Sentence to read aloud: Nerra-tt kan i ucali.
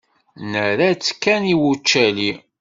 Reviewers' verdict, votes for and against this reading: rejected, 1, 2